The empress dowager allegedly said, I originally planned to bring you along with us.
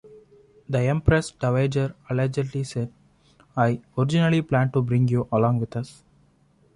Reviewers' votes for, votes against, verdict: 1, 2, rejected